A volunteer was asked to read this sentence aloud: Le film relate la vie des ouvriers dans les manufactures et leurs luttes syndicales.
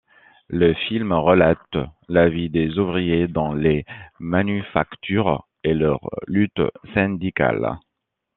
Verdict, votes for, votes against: accepted, 2, 1